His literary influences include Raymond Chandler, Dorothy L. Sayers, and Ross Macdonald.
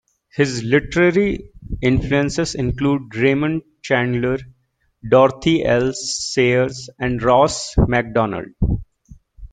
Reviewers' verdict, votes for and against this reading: accepted, 2, 0